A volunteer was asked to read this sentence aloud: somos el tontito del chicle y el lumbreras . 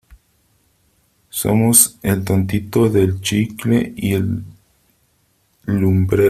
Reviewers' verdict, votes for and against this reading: rejected, 0, 3